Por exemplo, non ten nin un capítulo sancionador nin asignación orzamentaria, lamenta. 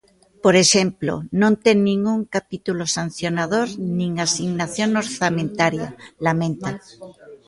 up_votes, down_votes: 2, 1